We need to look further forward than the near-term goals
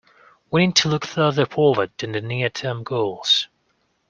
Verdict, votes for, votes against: accepted, 2, 0